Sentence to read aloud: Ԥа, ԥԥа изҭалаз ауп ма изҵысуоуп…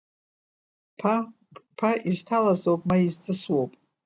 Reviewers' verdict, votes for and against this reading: accepted, 2, 0